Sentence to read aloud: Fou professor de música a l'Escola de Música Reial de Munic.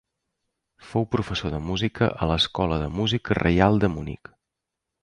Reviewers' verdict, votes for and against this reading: accepted, 2, 0